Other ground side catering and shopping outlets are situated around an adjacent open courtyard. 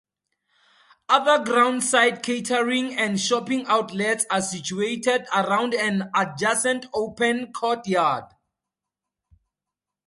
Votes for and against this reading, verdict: 4, 0, accepted